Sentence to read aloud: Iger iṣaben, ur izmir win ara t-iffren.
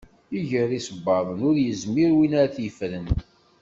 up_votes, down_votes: 0, 2